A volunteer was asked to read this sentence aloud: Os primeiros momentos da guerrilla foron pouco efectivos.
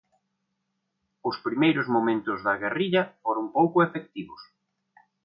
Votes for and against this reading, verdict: 2, 0, accepted